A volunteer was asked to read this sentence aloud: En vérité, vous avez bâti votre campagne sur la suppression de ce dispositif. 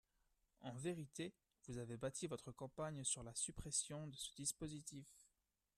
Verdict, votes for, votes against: rejected, 1, 2